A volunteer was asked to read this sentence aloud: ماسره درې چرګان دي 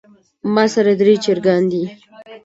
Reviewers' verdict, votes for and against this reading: accepted, 2, 0